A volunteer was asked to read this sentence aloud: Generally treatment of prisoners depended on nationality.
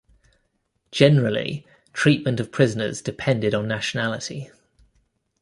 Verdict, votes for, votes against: accepted, 2, 0